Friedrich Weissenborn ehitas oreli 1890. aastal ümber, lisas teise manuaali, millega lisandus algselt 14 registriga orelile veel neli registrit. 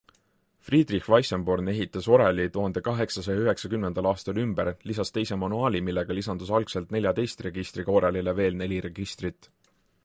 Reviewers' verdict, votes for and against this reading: rejected, 0, 2